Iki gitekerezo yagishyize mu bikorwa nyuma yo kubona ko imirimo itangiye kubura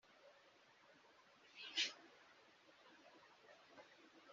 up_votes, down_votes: 1, 2